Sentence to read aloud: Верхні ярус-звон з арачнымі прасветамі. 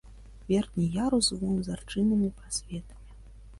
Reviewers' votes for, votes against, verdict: 1, 3, rejected